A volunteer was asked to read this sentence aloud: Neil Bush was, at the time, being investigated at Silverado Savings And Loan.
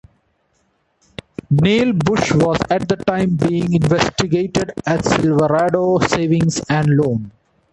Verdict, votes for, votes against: accepted, 2, 0